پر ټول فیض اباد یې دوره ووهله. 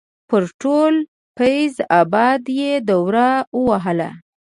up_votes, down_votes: 2, 0